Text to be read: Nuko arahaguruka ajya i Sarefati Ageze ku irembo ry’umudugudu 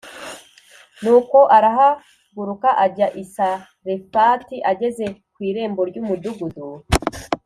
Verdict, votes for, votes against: accepted, 2, 0